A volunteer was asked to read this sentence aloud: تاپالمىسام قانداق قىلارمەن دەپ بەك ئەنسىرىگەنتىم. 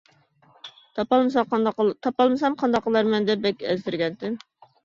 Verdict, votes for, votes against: rejected, 0, 2